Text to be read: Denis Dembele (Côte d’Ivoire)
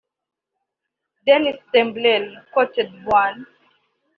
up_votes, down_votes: 1, 2